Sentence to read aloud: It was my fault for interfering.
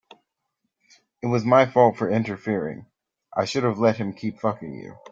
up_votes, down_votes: 1, 2